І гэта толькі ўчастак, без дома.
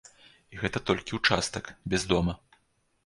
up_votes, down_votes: 2, 0